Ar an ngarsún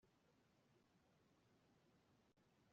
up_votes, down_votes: 0, 2